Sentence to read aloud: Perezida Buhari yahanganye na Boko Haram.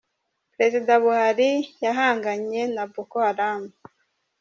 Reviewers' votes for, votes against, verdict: 0, 2, rejected